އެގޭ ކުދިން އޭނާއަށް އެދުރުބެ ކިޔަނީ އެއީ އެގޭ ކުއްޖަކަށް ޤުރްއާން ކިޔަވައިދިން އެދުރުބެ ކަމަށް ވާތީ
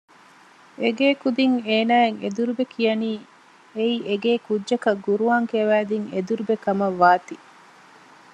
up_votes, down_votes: 2, 0